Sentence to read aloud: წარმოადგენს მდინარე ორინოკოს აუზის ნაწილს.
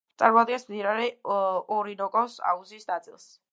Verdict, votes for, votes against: rejected, 1, 2